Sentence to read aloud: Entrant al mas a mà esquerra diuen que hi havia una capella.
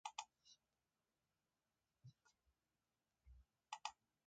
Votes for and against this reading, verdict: 0, 2, rejected